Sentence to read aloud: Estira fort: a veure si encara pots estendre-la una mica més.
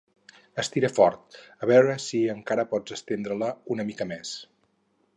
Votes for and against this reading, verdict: 4, 0, accepted